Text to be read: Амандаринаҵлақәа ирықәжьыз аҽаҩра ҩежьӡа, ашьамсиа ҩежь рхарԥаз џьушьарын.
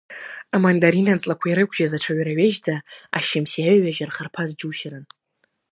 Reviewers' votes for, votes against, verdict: 1, 2, rejected